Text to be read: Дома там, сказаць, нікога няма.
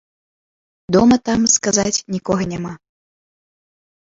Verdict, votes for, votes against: accepted, 2, 1